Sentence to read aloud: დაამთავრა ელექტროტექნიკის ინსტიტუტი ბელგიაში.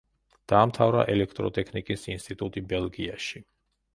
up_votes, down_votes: 2, 0